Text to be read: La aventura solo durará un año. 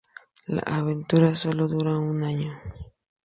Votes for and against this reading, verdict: 2, 6, rejected